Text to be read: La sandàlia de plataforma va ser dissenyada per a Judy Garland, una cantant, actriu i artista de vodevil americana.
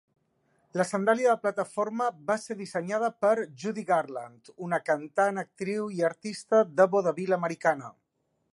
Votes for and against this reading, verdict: 2, 0, accepted